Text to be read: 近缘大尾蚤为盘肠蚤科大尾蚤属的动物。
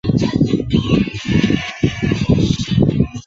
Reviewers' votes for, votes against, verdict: 4, 5, rejected